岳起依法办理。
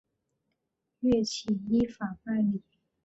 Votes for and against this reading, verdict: 7, 0, accepted